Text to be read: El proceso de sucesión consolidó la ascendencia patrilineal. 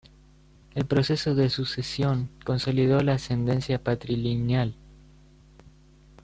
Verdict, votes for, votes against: rejected, 0, 2